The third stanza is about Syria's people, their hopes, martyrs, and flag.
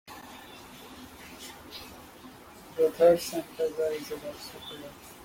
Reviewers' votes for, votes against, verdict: 0, 2, rejected